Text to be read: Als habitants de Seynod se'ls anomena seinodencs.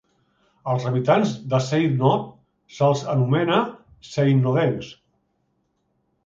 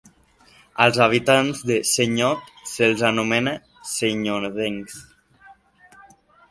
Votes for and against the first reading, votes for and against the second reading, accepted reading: 2, 0, 0, 2, first